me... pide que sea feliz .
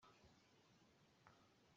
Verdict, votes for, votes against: rejected, 0, 2